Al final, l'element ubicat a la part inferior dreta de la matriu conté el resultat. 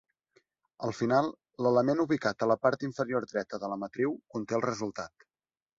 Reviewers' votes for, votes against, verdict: 3, 0, accepted